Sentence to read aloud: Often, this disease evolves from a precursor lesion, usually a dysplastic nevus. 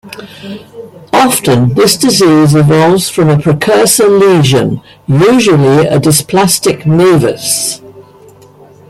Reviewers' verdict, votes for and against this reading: accepted, 2, 0